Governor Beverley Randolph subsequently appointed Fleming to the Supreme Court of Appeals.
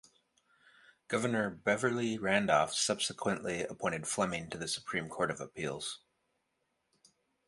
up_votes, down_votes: 2, 0